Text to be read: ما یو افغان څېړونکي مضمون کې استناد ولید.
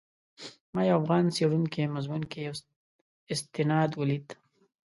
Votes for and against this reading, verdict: 1, 3, rejected